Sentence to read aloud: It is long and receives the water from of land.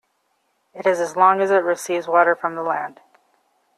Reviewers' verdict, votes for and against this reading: rejected, 1, 2